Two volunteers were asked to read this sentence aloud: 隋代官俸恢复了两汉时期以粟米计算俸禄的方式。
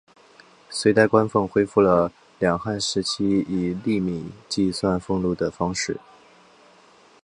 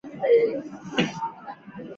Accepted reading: first